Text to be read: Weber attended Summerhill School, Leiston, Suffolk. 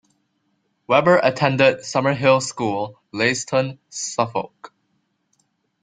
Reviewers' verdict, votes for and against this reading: accepted, 2, 0